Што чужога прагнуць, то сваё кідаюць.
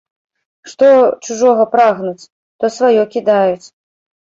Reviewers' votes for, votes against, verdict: 0, 2, rejected